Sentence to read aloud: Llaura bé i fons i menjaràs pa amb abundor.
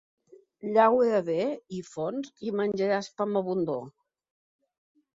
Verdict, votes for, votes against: accepted, 2, 0